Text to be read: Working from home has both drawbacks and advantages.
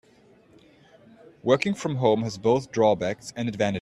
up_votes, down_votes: 0, 2